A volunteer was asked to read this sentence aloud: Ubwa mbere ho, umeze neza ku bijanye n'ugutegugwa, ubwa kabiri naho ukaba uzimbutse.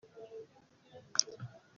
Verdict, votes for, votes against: rejected, 0, 2